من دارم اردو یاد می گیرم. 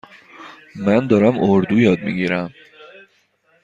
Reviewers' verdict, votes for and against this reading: accepted, 2, 0